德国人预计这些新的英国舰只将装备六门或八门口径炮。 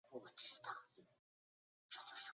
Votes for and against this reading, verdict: 4, 6, rejected